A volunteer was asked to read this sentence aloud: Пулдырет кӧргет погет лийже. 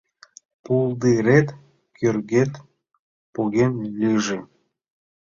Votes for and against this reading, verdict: 1, 2, rejected